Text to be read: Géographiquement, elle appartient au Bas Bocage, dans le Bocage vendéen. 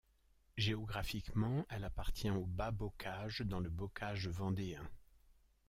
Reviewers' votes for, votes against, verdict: 1, 2, rejected